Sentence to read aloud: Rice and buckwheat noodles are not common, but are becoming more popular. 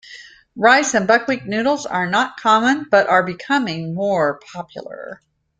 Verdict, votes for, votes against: accepted, 2, 0